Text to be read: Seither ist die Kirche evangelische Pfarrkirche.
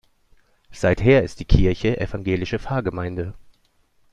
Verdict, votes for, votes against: rejected, 1, 2